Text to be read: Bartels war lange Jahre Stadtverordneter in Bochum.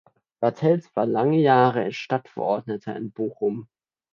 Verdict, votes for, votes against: accepted, 2, 0